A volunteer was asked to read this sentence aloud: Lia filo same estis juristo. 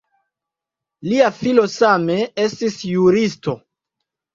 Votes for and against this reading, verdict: 2, 0, accepted